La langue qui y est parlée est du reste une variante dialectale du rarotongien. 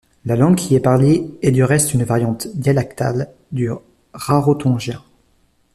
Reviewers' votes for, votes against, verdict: 0, 2, rejected